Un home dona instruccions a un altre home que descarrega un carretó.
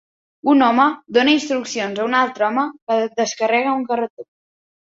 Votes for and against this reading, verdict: 0, 2, rejected